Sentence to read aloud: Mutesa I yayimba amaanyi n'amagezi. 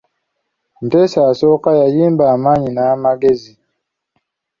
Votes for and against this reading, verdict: 2, 0, accepted